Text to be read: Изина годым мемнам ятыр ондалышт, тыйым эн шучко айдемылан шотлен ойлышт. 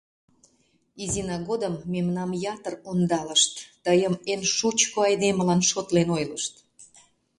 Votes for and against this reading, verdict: 2, 0, accepted